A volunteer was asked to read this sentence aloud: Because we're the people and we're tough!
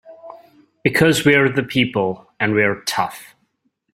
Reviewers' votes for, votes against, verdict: 3, 0, accepted